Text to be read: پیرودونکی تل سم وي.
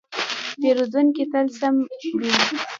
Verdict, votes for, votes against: rejected, 1, 2